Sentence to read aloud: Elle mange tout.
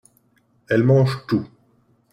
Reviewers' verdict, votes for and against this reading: accepted, 2, 0